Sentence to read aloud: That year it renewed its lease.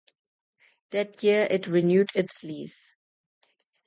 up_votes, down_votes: 2, 0